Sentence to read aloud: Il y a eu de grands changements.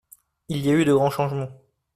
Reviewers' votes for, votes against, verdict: 2, 0, accepted